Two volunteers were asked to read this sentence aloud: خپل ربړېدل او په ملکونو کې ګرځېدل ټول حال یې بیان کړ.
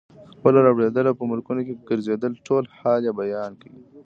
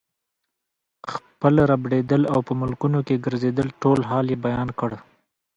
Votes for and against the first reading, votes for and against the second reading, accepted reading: 1, 2, 2, 0, second